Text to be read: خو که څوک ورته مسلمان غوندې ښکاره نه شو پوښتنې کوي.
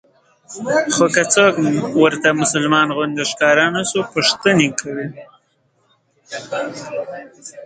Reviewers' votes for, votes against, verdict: 10, 0, accepted